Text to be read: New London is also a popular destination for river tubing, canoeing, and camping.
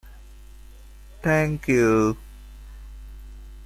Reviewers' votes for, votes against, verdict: 0, 2, rejected